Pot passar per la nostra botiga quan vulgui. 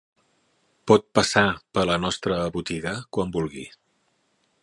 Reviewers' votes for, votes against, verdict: 0, 2, rejected